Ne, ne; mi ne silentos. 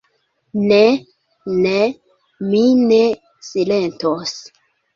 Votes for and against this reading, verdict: 2, 0, accepted